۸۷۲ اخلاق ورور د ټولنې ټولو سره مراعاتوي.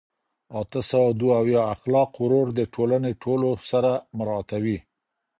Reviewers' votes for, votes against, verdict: 0, 2, rejected